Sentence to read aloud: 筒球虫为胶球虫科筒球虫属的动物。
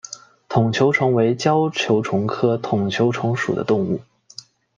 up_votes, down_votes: 2, 0